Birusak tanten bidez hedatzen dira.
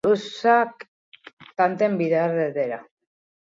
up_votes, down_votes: 2, 0